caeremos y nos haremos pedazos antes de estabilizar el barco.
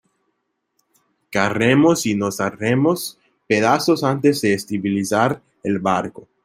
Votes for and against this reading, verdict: 1, 2, rejected